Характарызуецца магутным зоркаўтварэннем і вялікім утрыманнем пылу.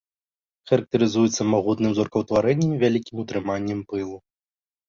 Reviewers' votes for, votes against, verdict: 2, 0, accepted